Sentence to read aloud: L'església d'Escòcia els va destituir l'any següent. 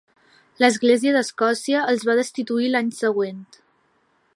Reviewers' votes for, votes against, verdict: 3, 0, accepted